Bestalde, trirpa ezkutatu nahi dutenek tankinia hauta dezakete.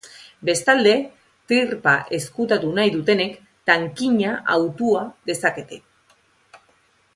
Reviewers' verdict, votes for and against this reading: accepted, 2, 0